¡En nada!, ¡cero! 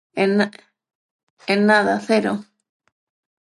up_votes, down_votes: 0, 6